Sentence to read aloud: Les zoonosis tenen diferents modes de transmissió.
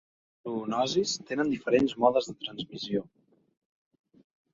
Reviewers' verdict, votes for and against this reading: rejected, 1, 2